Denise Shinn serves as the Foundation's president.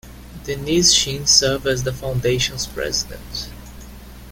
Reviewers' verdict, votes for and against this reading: rejected, 1, 2